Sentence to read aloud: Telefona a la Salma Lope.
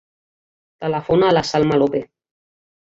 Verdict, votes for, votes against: accepted, 2, 0